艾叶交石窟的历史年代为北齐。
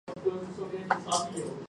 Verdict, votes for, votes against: rejected, 1, 3